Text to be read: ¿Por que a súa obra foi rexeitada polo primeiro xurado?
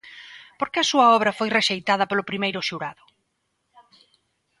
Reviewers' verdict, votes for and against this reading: accepted, 2, 0